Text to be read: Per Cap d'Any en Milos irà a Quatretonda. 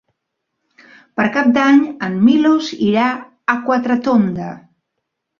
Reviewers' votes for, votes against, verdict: 2, 0, accepted